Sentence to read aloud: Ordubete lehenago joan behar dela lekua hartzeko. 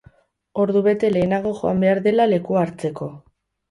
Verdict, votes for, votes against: rejected, 2, 2